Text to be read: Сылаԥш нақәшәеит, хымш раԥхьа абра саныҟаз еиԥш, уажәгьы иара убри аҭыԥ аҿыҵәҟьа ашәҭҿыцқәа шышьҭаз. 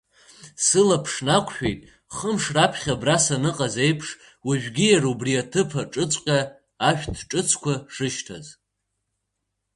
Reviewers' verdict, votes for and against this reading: accepted, 2, 0